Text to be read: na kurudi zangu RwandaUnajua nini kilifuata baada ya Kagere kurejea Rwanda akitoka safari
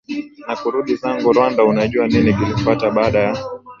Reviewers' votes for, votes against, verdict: 1, 2, rejected